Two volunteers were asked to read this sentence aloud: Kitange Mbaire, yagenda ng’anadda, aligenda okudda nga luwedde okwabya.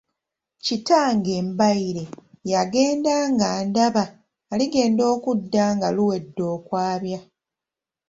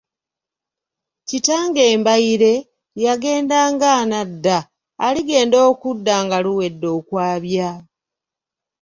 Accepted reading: second